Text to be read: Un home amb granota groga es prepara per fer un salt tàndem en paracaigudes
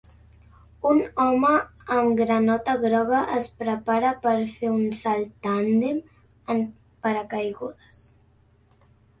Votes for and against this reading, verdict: 2, 0, accepted